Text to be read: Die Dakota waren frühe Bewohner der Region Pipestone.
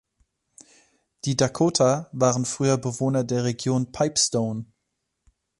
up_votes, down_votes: 1, 2